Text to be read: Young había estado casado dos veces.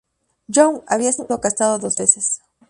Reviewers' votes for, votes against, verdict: 2, 0, accepted